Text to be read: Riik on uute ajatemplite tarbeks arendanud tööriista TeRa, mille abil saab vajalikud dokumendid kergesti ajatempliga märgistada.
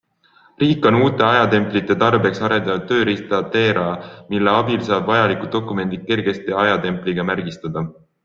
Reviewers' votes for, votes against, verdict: 2, 0, accepted